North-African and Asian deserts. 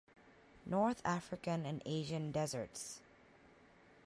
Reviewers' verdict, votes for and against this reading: accepted, 2, 0